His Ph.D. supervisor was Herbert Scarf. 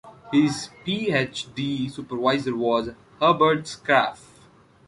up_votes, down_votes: 1, 2